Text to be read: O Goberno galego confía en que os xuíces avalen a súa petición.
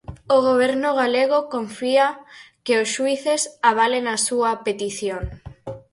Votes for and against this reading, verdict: 0, 4, rejected